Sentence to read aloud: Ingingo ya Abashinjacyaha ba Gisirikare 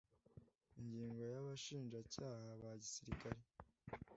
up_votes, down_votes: 2, 0